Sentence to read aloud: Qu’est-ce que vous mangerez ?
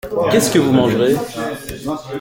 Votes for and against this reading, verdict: 1, 2, rejected